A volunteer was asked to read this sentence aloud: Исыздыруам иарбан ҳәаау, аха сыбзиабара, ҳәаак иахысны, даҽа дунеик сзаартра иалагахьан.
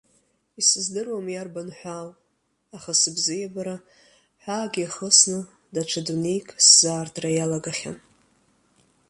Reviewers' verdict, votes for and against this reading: accepted, 2, 0